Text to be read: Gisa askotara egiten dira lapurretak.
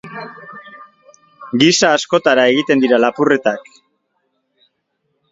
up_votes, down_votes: 2, 0